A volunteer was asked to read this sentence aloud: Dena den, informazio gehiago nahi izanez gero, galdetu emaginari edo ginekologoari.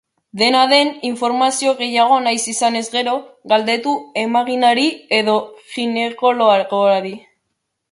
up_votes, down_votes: 0, 3